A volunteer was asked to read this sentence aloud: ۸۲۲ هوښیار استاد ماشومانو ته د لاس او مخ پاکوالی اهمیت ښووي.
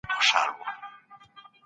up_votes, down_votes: 0, 2